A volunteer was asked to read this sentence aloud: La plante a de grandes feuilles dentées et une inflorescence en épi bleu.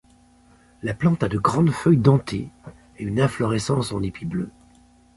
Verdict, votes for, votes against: accepted, 2, 0